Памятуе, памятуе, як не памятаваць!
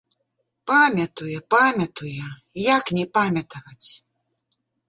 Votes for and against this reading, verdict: 2, 0, accepted